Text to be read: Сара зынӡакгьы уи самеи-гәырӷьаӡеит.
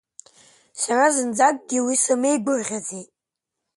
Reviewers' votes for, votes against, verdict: 2, 0, accepted